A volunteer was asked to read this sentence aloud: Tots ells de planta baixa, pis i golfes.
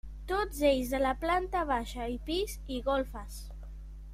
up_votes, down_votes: 0, 2